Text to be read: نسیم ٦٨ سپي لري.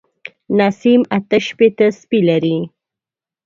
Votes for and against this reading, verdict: 0, 2, rejected